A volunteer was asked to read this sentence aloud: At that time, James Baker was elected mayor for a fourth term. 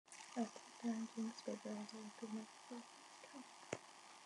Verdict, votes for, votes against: rejected, 0, 2